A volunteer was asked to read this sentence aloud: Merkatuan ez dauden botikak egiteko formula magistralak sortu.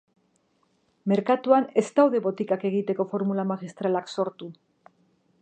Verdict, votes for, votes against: rejected, 1, 2